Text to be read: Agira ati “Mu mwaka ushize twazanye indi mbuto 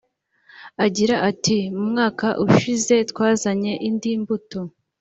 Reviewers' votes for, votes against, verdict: 2, 0, accepted